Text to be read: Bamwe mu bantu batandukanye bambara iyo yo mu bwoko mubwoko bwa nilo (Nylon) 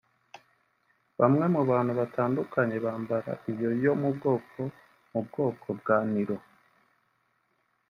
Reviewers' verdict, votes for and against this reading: rejected, 1, 2